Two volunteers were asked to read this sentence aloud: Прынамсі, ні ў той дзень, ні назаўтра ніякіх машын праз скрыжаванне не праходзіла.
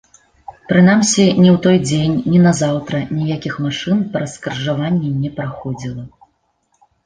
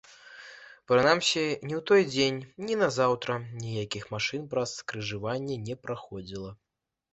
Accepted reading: first